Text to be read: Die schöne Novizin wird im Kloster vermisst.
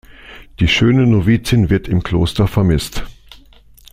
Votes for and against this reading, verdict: 2, 0, accepted